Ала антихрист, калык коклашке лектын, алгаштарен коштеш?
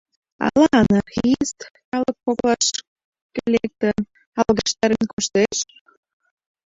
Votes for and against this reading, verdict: 0, 2, rejected